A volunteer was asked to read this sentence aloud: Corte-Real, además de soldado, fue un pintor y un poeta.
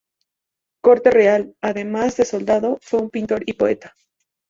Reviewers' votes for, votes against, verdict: 0, 2, rejected